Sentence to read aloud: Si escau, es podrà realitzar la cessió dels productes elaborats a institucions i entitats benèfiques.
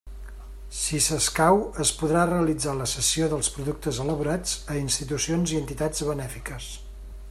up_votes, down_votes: 1, 2